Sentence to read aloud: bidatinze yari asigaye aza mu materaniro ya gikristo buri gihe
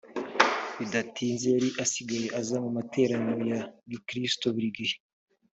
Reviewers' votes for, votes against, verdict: 2, 1, accepted